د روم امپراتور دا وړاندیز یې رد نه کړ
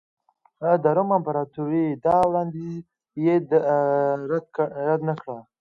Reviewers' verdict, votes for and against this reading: rejected, 1, 2